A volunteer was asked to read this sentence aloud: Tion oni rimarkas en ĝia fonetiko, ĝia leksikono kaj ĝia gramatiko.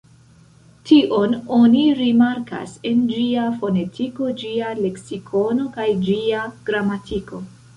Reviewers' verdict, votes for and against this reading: accepted, 2, 0